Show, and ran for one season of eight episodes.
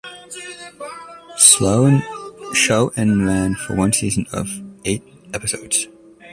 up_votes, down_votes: 2, 0